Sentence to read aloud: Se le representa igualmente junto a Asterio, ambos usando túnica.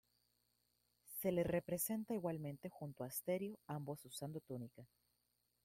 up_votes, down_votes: 1, 2